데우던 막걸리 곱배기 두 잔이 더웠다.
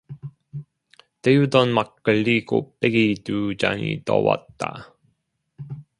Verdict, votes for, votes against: rejected, 0, 2